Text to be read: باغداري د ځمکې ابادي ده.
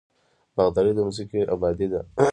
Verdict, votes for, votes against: rejected, 0, 2